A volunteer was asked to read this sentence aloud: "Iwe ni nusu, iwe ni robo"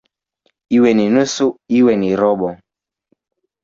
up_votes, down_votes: 0, 2